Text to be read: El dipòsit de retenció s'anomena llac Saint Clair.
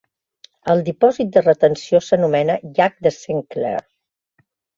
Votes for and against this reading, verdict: 1, 3, rejected